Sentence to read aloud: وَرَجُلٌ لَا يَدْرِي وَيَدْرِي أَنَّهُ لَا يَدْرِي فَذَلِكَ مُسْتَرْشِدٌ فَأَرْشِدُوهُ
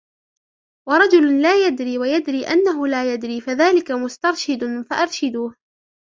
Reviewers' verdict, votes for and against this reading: rejected, 0, 2